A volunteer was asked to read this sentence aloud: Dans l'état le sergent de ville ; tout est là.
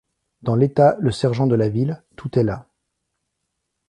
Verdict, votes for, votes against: rejected, 1, 2